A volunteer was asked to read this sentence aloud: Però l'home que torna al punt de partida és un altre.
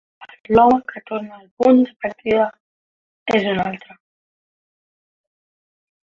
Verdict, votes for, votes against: rejected, 0, 2